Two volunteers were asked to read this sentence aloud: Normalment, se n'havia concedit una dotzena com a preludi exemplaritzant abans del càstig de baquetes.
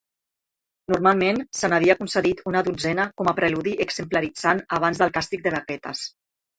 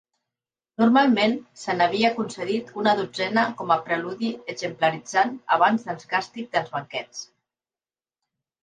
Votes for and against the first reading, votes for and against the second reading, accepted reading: 4, 0, 0, 2, first